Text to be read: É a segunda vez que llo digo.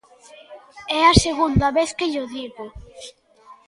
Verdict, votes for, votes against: accepted, 2, 0